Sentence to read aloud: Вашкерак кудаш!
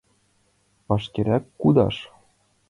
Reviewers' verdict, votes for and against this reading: accepted, 2, 0